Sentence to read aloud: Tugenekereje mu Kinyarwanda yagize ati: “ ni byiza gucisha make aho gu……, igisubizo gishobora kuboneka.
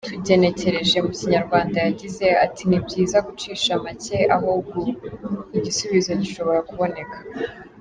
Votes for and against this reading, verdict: 2, 0, accepted